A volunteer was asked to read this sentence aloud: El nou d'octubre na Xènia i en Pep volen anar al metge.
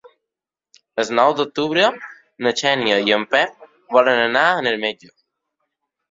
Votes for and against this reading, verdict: 0, 2, rejected